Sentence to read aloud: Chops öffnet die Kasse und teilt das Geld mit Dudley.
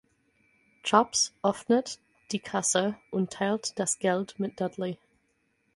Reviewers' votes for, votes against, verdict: 4, 0, accepted